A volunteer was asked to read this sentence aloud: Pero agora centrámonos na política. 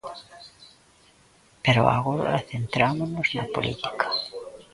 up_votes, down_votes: 2, 1